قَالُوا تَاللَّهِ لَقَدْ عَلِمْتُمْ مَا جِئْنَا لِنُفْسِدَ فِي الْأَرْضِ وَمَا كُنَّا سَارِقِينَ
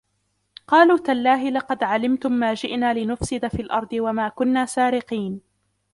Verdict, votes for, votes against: rejected, 0, 2